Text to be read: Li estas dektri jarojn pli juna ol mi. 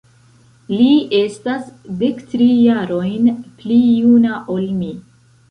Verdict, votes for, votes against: accepted, 2, 0